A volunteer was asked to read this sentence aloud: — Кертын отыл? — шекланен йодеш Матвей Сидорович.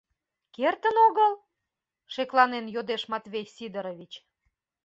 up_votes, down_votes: 0, 2